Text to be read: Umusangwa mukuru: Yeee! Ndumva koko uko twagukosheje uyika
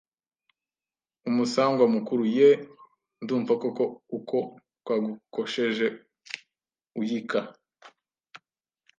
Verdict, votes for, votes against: accepted, 2, 0